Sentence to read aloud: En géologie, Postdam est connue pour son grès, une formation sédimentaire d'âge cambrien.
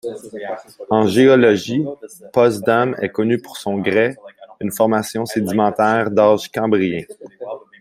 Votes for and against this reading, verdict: 3, 0, accepted